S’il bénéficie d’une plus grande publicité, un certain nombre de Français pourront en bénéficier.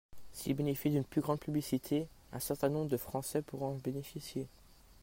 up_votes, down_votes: 2, 1